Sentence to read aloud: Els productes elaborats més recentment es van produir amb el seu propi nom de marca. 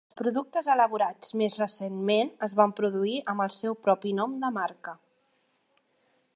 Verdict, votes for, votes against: rejected, 0, 2